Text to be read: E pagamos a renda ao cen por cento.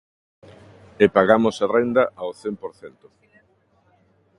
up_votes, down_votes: 2, 0